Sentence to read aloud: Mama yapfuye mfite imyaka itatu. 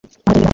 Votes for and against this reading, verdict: 1, 2, rejected